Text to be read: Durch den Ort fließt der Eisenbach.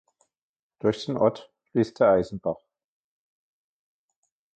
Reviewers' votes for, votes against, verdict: 2, 1, accepted